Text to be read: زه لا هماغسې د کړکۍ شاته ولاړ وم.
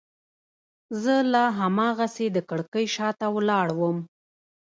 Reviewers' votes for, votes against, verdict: 1, 2, rejected